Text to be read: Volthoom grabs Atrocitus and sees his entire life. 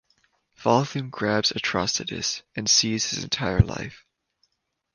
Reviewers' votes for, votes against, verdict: 2, 0, accepted